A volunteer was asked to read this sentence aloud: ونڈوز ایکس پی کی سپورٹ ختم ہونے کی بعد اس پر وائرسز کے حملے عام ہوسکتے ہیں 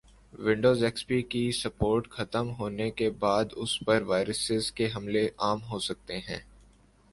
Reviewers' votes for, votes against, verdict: 2, 0, accepted